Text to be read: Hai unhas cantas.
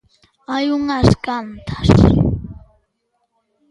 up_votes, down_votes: 2, 0